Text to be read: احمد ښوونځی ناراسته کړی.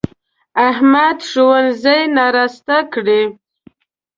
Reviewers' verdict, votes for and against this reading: rejected, 0, 2